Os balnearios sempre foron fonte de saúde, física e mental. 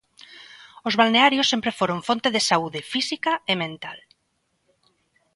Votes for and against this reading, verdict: 2, 0, accepted